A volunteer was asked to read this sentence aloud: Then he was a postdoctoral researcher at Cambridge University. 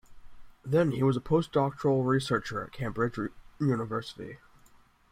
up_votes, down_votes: 1, 2